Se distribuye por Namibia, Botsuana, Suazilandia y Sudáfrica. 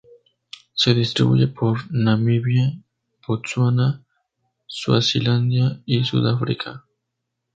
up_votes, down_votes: 2, 0